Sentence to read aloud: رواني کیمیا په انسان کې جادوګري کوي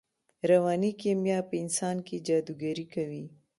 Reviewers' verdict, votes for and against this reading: accepted, 3, 0